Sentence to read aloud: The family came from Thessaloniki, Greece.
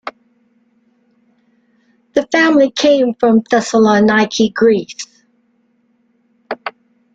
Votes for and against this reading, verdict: 2, 0, accepted